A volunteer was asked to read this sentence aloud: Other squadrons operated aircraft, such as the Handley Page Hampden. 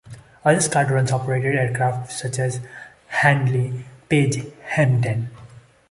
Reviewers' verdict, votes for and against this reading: rejected, 1, 2